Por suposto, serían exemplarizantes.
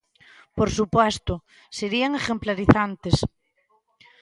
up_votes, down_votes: 0, 2